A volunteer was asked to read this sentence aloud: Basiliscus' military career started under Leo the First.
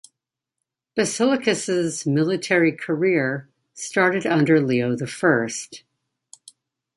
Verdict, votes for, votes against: rejected, 1, 2